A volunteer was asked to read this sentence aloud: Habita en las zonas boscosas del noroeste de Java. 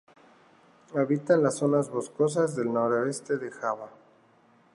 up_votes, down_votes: 2, 0